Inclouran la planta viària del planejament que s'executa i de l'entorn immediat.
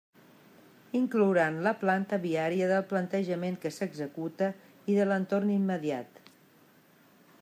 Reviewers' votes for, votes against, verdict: 0, 2, rejected